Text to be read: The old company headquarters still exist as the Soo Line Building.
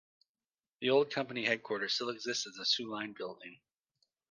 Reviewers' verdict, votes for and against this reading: accepted, 2, 0